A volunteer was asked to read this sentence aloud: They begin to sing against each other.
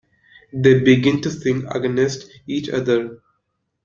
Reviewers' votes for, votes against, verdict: 0, 2, rejected